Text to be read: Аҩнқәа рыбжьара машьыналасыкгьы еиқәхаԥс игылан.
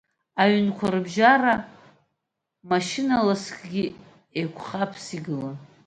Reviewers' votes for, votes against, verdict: 1, 2, rejected